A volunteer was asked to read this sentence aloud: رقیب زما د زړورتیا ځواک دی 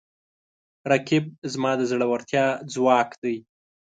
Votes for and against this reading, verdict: 2, 0, accepted